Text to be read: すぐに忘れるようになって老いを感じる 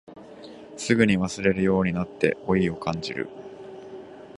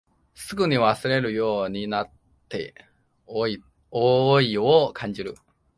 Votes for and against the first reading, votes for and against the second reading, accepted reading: 2, 0, 1, 2, first